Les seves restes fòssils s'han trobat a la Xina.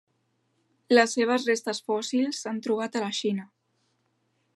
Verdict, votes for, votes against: accepted, 3, 1